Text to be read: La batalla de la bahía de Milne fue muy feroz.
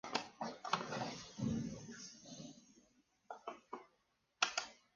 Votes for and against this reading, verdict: 0, 2, rejected